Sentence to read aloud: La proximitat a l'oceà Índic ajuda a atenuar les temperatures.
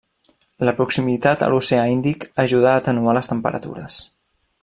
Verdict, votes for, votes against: rejected, 1, 2